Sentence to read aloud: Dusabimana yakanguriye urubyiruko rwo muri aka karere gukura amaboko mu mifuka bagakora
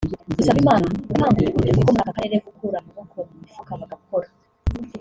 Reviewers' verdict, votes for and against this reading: rejected, 0, 2